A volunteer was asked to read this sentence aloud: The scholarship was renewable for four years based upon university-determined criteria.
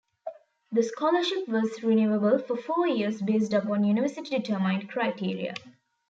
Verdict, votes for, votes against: rejected, 1, 2